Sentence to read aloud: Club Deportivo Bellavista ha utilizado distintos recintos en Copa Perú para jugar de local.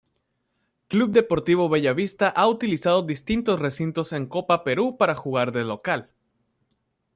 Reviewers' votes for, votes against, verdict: 2, 0, accepted